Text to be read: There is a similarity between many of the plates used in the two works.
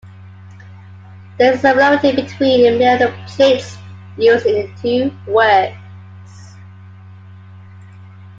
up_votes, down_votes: 2, 1